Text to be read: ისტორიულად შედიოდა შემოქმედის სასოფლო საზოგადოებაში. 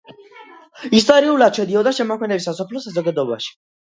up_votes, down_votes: 0, 2